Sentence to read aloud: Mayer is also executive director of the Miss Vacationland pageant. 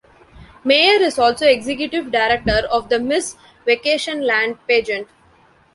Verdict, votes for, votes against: rejected, 1, 2